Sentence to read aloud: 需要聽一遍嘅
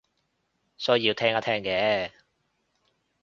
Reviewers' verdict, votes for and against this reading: rejected, 0, 2